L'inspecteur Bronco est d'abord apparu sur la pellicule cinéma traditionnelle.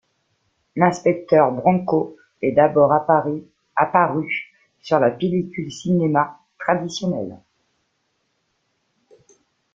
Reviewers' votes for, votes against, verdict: 1, 2, rejected